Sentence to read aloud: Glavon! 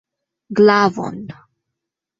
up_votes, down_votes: 2, 0